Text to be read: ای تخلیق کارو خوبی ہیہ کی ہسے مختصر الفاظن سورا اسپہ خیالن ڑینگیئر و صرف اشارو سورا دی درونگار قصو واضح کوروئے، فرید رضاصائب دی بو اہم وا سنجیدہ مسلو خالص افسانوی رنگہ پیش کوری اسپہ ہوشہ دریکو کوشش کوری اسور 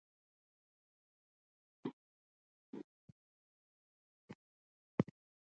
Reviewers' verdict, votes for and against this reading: rejected, 0, 2